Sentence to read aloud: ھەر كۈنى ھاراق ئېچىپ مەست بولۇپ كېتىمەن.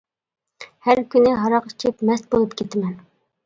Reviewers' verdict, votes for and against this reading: accepted, 2, 0